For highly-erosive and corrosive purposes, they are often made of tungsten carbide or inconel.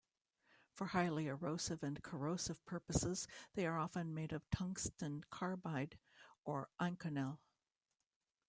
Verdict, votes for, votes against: rejected, 1, 2